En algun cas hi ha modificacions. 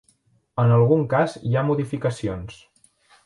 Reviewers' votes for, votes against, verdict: 1, 2, rejected